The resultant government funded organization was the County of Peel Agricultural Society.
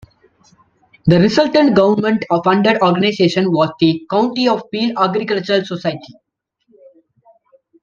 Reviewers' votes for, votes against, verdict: 2, 1, accepted